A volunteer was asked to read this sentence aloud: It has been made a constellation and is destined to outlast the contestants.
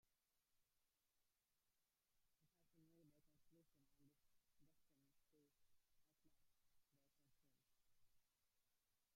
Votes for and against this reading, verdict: 0, 2, rejected